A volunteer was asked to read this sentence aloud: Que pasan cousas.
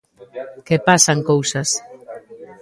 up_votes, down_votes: 1, 2